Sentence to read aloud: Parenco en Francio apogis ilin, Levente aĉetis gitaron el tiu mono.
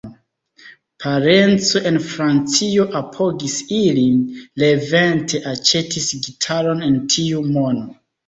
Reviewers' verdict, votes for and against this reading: rejected, 1, 2